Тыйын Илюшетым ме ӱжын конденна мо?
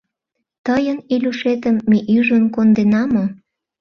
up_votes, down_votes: 0, 2